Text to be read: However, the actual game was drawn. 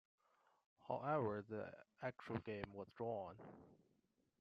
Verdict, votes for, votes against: accepted, 2, 1